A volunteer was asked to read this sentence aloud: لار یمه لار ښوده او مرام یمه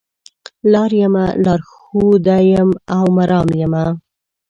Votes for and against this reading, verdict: 3, 0, accepted